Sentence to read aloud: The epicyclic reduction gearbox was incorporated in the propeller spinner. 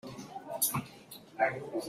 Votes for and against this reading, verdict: 0, 2, rejected